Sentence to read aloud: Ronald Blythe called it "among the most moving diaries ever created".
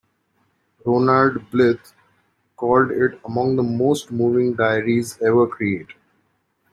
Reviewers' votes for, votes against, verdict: 0, 2, rejected